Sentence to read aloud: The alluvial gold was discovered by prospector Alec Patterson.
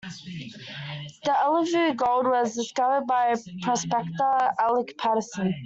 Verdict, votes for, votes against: rejected, 1, 2